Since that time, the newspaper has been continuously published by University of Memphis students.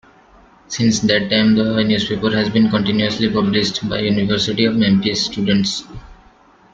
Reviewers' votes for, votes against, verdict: 0, 2, rejected